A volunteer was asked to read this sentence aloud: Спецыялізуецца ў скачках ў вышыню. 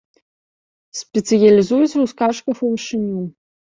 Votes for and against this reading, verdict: 1, 2, rejected